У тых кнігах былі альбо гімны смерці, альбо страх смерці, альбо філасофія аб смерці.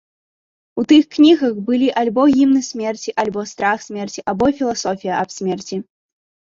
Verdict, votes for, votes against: accepted, 2, 0